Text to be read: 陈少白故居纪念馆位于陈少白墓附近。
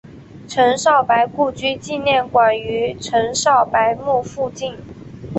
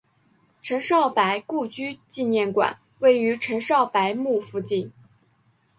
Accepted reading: second